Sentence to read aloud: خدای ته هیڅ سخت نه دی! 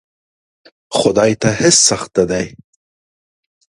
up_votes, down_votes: 2, 0